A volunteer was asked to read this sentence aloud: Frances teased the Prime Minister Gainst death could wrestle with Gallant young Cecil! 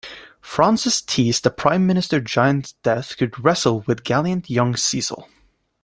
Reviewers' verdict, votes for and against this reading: rejected, 0, 2